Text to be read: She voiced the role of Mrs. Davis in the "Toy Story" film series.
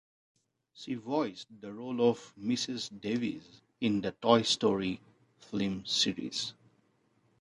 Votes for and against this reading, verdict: 1, 2, rejected